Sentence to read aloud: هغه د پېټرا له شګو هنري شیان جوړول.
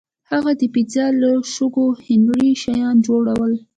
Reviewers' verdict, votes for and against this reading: accepted, 2, 0